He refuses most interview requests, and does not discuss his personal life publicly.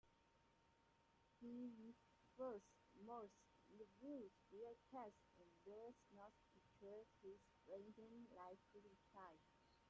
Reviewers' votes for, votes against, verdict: 0, 2, rejected